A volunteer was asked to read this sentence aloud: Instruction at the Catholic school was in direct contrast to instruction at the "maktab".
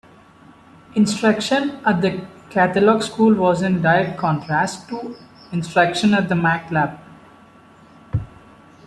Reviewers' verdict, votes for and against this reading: accepted, 2, 1